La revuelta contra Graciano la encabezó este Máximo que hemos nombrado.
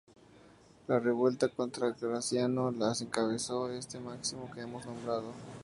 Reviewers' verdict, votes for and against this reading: rejected, 0, 2